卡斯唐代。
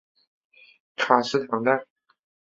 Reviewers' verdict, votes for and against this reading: accepted, 9, 0